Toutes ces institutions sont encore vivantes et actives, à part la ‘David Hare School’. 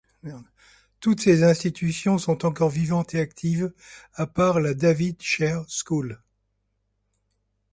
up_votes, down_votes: 2, 0